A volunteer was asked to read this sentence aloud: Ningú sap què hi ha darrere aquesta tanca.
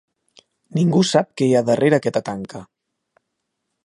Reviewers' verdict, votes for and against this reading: rejected, 0, 2